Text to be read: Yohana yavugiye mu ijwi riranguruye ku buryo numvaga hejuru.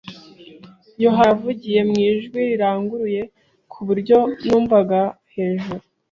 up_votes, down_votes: 1, 2